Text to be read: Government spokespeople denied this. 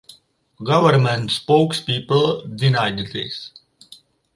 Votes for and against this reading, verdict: 2, 2, rejected